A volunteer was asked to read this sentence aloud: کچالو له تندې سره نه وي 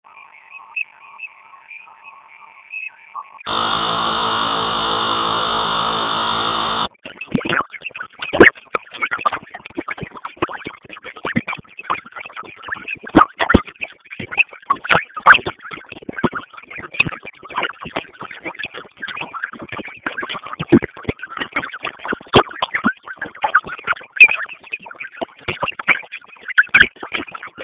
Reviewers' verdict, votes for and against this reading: rejected, 0, 2